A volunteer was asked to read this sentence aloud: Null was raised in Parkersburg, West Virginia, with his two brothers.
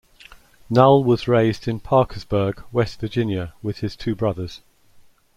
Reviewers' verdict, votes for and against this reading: accepted, 2, 0